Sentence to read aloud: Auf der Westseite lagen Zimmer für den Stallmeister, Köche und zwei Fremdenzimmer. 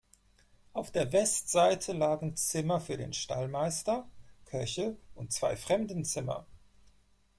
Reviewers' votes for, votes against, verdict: 4, 0, accepted